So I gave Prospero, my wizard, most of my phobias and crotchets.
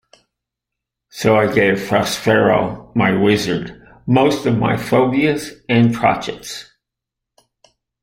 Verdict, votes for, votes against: accepted, 2, 1